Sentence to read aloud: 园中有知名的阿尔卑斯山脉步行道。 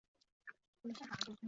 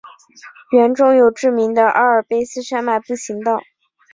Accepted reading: second